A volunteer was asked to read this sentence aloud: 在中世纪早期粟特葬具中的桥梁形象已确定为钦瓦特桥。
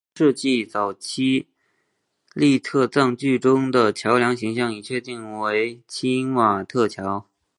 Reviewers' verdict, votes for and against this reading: rejected, 0, 2